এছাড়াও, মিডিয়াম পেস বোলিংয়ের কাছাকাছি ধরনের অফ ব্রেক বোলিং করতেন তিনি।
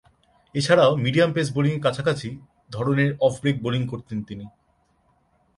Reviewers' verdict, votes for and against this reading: accepted, 2, 0